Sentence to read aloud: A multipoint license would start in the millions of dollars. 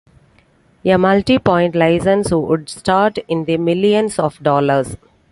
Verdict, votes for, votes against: accepted, 2, 1